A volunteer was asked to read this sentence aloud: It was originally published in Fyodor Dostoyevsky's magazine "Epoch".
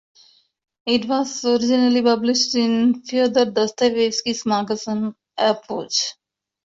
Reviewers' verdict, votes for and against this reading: rejected, 1, 3